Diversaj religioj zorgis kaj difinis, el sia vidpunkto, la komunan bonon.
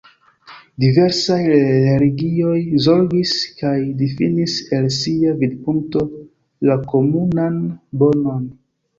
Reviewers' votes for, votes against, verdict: 2, 1, accepted